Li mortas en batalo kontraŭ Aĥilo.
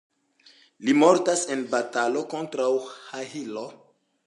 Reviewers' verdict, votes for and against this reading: accepted, 2, 1